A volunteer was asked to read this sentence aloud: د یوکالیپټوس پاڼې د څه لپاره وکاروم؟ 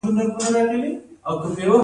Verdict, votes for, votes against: accepted, 2, 0